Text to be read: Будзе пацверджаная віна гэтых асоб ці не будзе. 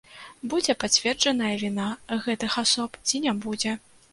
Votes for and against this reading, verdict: 2, 0, accepted